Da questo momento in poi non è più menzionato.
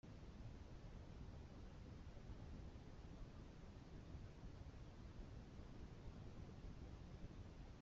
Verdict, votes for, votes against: rejected, 0, 2